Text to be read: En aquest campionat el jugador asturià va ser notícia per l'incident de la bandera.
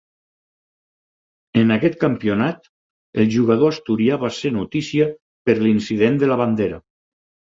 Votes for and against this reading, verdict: 4, 0, accepted